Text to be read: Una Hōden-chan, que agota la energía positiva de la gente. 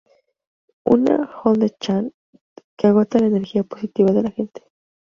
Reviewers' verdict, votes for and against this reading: rejected, 2, 2